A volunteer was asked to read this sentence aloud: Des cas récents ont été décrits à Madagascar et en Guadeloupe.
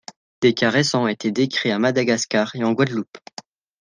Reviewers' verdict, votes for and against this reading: accepted, 2, 0